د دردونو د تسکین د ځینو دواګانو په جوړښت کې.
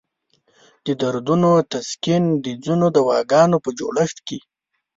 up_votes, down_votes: 4, 1